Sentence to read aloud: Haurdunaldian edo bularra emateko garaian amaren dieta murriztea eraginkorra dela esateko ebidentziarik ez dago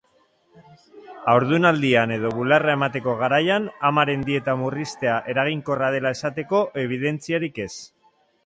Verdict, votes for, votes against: rejected, 0, 2